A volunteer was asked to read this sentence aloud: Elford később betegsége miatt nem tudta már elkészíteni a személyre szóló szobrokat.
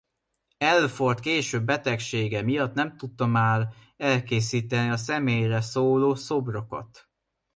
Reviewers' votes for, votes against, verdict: 1, 2, rejected